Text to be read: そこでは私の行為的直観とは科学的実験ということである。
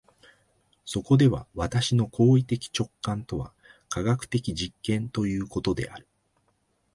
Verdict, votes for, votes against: accepted, 2, 0